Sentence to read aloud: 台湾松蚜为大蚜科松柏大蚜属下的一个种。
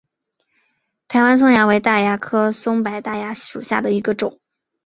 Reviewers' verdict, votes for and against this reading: accepted, 2, 0